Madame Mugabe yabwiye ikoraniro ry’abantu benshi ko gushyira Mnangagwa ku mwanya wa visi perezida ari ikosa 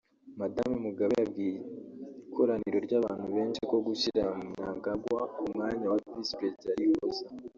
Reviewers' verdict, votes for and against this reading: rejected, 0, 2